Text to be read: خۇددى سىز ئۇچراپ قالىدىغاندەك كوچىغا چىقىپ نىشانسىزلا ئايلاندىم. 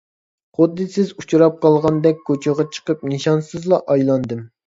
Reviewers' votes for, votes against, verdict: 0, 2, rejected